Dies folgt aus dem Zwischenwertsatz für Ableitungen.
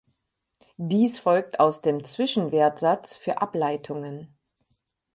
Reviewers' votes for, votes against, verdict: 4, 0, accepted